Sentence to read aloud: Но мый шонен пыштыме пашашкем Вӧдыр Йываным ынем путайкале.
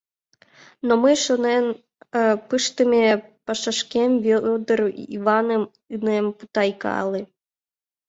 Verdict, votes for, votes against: rejected, 0, 2